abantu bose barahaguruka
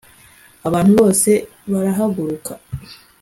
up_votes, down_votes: 2, 0